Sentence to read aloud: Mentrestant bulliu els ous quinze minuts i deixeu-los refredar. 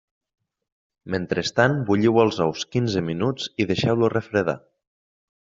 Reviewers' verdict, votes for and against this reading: accepted, 2, 0